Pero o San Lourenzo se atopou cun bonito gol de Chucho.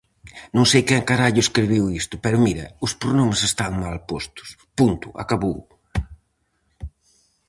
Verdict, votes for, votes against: rejected, 0, 4